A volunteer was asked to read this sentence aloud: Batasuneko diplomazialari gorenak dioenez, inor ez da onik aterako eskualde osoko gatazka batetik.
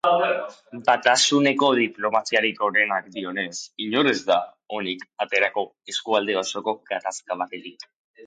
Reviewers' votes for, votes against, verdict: 2, 0, accepted